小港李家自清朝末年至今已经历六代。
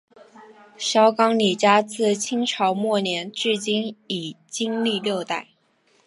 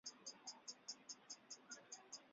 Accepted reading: first